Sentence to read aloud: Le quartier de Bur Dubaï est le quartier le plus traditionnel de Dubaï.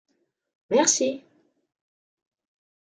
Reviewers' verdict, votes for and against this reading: rejected, 0, 2